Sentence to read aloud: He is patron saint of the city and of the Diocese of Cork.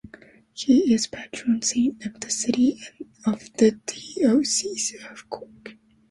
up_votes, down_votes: 0, 2